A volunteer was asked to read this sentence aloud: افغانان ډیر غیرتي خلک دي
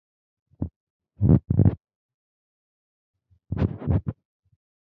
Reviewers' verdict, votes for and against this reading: rejected, 0, 2